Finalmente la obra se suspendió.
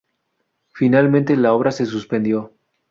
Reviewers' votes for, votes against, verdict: 4, 0, accepted